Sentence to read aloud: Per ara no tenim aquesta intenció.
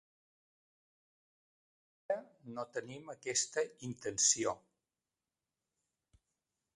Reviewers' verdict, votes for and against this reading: rejected, 0, 2